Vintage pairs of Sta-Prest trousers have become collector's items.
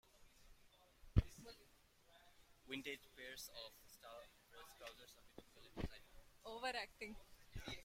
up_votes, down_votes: 0, 2